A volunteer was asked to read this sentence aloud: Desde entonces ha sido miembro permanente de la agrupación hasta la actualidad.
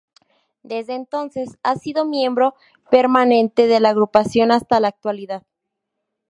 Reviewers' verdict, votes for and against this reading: accepted, 6, 0